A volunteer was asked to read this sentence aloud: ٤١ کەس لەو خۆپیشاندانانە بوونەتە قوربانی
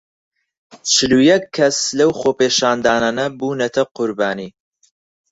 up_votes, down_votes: 0, 2